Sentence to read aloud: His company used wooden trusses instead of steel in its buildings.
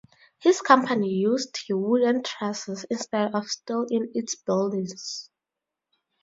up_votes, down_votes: 2, 2